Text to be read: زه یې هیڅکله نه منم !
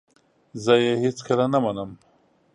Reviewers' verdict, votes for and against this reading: accepted, 2, 0